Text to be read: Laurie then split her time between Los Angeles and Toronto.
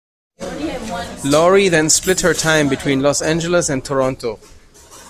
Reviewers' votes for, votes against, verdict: 2, 1, accepted